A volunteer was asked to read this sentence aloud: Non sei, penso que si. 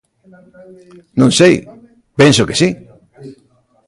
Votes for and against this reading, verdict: 1, 2, rejected